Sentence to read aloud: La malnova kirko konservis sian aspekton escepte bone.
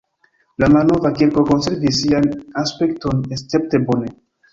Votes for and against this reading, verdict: 1, 2, rejected